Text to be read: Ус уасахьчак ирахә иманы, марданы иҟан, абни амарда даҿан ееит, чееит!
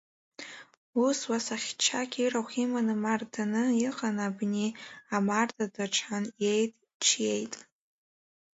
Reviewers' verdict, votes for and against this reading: accepted, 2, 1